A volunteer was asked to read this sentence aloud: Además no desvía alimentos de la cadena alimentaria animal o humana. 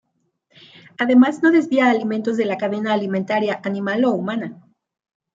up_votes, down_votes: 2, 0